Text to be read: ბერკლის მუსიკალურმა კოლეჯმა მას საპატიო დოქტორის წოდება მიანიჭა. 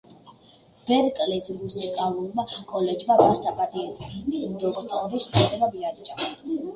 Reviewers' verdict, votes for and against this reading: rejected, 1, 2